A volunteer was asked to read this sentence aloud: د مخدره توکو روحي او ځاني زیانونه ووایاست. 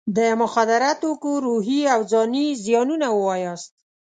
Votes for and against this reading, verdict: 2, 0, accepted